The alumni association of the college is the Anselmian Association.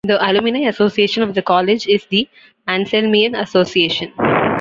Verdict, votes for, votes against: rejected, 0, 2